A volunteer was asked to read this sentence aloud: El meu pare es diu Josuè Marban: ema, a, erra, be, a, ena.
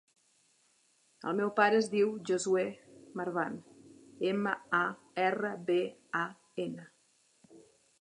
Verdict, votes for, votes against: accepted, 2, 0